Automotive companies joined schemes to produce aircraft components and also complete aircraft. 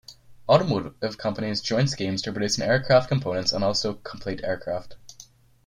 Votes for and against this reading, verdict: 0, 2, rejected